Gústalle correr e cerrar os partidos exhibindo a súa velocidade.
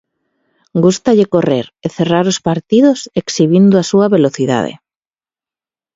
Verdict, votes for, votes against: accepted, 2, 0